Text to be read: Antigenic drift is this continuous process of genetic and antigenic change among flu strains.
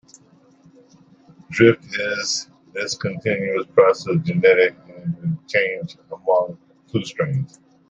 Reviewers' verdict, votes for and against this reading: rejected, 0, 2